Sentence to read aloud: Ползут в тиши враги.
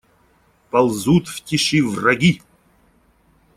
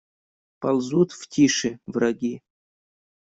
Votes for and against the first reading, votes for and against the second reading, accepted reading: 2, 0, 0, 2, first